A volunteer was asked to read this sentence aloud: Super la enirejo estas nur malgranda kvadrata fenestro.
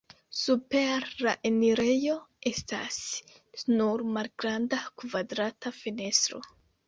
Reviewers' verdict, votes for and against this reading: rejected, 0, 2